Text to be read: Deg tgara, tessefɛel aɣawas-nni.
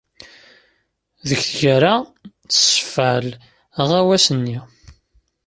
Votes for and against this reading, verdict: 0, 2, rejected